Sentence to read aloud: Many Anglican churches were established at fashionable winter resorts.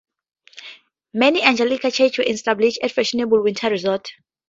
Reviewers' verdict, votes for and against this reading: rejected, 0, 4